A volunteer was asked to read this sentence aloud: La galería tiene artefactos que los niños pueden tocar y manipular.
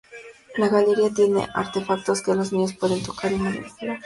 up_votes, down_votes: 2, 0